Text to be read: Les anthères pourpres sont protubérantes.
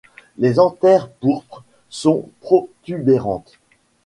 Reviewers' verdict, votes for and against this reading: rejected, 1, 2